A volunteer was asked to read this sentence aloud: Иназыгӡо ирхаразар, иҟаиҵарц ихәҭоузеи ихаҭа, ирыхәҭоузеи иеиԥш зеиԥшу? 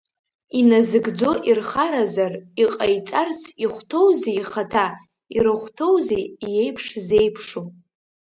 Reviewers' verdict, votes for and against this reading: rejected, 1, 2